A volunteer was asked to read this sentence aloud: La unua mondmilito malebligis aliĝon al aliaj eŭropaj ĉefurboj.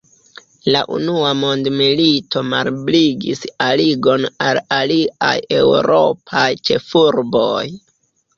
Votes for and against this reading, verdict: 0, 3, rejected